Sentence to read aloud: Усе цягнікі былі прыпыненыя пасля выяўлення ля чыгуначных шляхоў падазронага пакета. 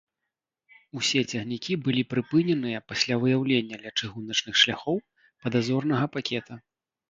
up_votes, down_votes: 0, 2